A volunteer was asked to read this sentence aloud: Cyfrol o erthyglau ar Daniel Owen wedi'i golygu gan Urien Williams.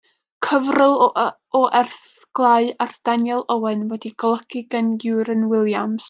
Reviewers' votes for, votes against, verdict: 0, 2, rejected